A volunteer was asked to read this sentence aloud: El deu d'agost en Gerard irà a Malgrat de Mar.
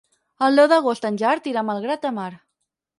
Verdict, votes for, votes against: rejected, 0, 4